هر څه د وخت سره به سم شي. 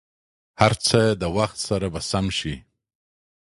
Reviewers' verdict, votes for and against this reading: accepted, 2, 0